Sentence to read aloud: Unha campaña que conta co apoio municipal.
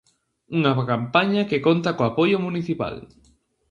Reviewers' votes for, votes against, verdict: 0, 2, rejected